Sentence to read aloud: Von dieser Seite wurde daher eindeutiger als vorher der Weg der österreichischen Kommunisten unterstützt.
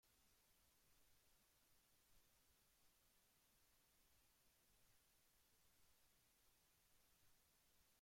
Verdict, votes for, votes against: rejected, 0, 2